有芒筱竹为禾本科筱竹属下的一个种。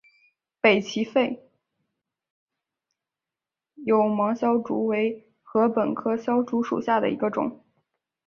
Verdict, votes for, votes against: rejected, 0, 3